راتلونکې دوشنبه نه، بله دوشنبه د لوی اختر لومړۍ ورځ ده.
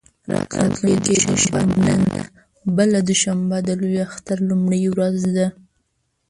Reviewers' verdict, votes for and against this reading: rejected, 0, 2